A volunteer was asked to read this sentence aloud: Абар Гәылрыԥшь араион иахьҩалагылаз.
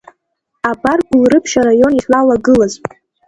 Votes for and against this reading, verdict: 1, 3, rejected